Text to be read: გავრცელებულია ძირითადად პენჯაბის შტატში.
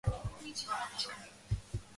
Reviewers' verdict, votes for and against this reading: rejected, 0, 3